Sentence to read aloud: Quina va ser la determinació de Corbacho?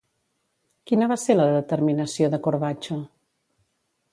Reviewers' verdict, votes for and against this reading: rejected, 0, 2